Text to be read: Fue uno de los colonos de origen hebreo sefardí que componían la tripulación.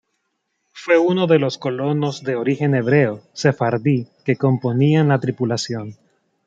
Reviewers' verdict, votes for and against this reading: accepted, 2, 0